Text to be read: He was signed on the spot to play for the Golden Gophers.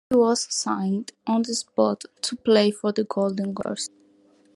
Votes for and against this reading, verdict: 1, 2, rejected